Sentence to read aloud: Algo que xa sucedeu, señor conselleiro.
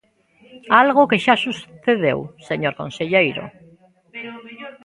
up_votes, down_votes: 1, 2